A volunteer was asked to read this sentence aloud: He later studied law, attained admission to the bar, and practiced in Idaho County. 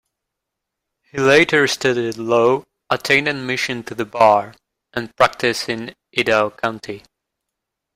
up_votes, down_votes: 1, 2